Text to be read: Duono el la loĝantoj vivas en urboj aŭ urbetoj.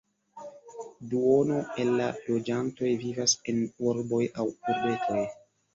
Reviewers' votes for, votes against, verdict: 1, 2, rejected